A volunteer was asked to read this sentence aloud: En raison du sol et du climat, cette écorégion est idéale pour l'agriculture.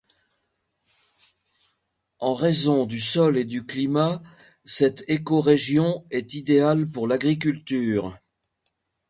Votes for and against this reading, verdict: 2, 0, accepted